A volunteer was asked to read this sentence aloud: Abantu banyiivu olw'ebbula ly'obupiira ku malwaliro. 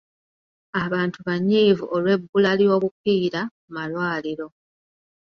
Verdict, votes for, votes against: rejected, 0, 2